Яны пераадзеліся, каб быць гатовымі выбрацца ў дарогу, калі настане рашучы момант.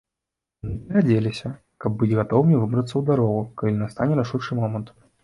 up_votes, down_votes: 1, 2